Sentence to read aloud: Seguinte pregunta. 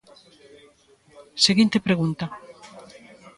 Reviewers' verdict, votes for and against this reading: accepted, 2, 1